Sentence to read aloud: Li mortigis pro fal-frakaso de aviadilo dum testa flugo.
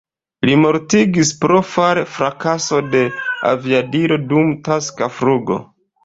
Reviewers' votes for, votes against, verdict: 0, 3, rejected